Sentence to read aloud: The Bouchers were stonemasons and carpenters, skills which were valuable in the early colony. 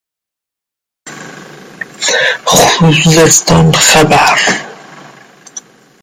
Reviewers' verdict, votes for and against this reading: rejected, 0, 2